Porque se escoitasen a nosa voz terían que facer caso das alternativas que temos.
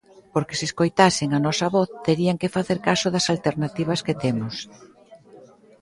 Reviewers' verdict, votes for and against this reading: accepted, 2, 0